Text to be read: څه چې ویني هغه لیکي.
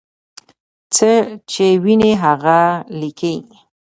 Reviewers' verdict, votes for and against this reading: rejected, 1, 2